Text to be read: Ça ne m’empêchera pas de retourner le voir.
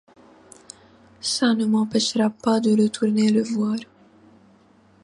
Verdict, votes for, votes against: accepted, 2, 0